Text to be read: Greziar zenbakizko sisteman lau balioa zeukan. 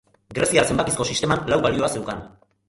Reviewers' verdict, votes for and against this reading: rejected, 1, 2